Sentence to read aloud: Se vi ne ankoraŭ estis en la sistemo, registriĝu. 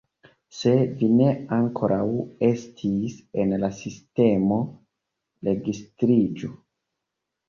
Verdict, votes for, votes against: rejected, 1, 2